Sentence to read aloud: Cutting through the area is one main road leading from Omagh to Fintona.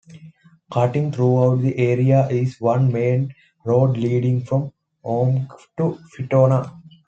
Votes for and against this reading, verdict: 2, 0, accepted